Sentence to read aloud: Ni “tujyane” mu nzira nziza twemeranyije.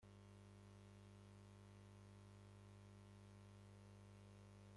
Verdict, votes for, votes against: rejected, 0, 2